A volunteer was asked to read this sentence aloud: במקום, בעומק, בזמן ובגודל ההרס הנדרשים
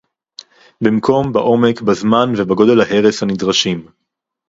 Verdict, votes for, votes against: rejected, 0, 2